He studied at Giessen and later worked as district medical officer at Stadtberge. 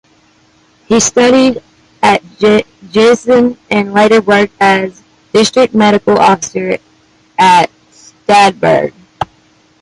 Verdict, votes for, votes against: accepted, 2, 1